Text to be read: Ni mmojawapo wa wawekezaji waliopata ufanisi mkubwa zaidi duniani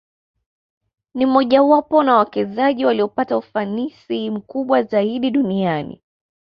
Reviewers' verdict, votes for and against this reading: rejected, 0, 2